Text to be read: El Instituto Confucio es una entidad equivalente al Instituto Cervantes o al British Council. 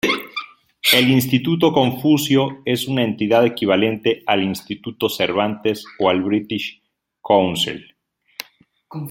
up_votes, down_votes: 2, 0